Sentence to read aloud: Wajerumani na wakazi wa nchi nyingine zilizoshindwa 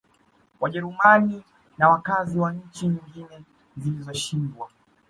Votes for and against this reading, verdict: 1, 2, rejected